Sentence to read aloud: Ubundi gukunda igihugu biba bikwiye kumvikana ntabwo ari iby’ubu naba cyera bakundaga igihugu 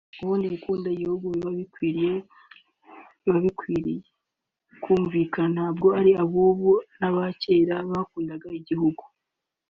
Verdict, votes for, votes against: rejected, 1, 2